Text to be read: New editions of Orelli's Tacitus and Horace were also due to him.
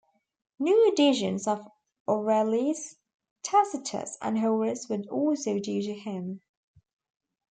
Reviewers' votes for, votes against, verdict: 0, 2, rejected